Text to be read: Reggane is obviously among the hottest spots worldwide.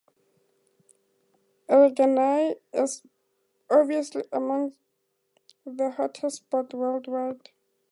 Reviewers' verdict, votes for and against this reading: rejected, 2, 4